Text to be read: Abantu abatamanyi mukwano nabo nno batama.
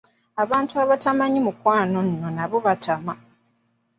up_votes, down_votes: 1, 2